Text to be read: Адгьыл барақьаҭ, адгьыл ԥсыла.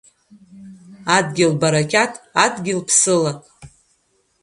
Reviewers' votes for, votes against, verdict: 2, 0, accepted